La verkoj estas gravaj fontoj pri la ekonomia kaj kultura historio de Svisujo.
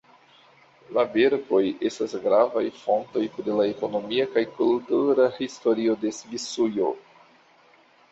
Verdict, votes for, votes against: accepted, 2, 1